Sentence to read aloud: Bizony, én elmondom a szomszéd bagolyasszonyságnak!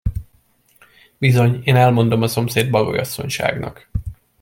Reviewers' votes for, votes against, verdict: 2, 0, accepted